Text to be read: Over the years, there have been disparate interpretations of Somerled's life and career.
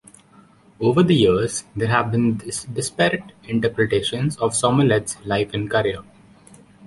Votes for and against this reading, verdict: 1, 2, rejected